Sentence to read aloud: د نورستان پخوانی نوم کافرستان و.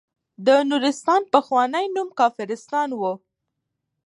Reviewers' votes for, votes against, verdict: 1, 2, rejected